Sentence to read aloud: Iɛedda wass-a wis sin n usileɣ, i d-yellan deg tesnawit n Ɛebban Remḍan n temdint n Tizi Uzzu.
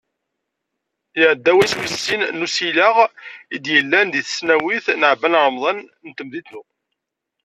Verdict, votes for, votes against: rejected, 0, 2